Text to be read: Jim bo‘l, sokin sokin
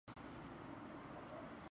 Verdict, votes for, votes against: rejected, 0, 2